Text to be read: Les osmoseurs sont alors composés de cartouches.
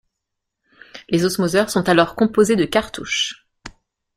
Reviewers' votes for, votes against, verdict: 2, 0, accepted